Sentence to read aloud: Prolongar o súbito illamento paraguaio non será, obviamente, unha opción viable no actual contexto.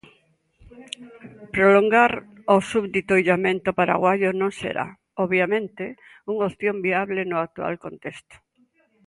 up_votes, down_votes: 0, 2